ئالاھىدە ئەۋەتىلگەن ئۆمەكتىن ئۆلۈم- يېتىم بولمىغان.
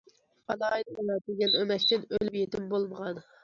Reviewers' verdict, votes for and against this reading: accepted, 2, 0